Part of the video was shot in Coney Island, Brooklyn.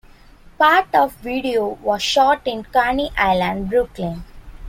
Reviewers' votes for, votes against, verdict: 2, 1, accepted